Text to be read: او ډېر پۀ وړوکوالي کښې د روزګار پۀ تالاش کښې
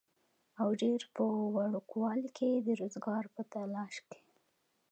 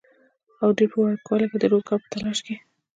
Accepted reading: first